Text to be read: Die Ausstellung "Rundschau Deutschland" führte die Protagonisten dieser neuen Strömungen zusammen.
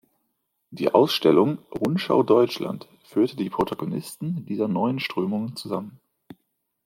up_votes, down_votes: 2, 0